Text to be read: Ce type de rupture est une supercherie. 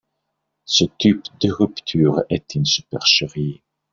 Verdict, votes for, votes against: rejected, 1, 2